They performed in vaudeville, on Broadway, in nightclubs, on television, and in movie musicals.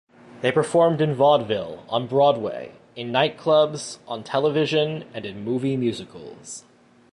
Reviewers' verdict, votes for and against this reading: accepted, 2, 0